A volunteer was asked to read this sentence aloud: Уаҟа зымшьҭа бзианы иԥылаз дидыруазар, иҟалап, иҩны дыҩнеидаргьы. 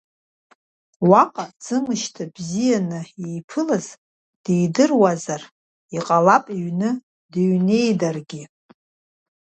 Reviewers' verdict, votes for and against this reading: accepted, 2, 0